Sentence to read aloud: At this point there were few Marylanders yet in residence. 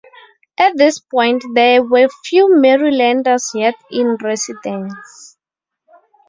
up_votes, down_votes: 2, 2